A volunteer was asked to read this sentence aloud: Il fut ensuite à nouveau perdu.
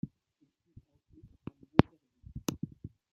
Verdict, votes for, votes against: rejected, 0, 2